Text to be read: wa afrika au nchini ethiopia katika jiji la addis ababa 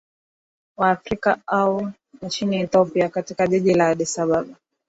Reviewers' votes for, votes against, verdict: 0, 2, rejected